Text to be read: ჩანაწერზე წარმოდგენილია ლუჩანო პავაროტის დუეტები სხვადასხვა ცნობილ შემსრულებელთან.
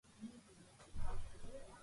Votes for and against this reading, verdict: 0, 2, rejected